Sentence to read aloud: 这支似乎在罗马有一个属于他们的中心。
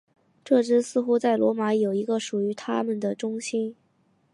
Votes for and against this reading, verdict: 4, 0, accepted